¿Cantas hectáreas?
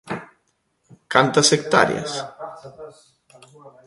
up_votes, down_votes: 2, 1